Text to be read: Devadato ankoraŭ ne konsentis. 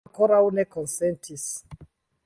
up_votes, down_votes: 1, 2